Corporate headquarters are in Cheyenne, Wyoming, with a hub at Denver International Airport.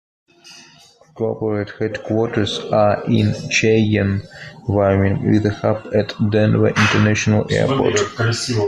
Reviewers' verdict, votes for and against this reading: rejected, 0, 2